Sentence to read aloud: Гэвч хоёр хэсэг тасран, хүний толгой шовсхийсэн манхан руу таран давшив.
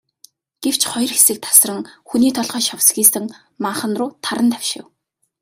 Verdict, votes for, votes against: rejected, 2, 2